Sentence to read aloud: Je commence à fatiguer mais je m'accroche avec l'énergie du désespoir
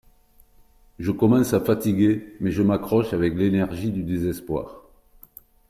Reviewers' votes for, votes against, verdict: 1, 2, rejected